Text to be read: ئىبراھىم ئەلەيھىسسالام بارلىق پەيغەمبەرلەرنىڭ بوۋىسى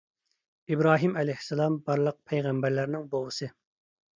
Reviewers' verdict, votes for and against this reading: accepted, 2, 0